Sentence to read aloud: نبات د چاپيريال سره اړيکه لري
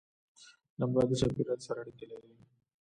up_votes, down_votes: 2, 0